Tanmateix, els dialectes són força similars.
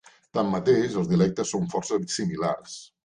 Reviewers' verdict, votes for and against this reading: rejected, 1, 2